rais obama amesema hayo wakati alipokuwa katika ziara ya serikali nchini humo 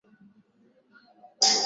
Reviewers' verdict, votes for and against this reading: rejected, 0, 10